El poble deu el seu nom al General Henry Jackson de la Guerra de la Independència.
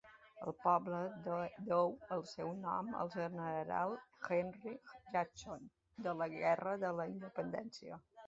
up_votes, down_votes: 1, 2